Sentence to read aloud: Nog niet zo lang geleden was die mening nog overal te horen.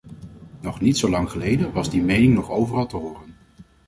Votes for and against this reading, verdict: 2, 0, accepted